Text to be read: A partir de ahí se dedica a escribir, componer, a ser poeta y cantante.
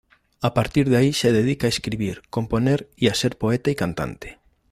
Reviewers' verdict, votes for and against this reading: rejected, 0, 2